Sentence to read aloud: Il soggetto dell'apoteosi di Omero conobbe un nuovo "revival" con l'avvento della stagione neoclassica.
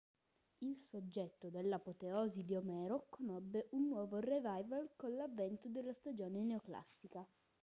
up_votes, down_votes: 0, 2